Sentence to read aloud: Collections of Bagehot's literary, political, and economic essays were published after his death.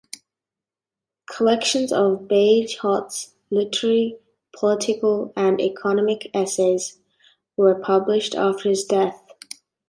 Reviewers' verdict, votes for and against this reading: accepted, 2, 1